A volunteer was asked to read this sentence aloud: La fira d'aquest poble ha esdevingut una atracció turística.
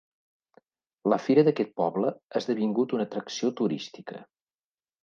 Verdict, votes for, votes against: accepted, 2, 0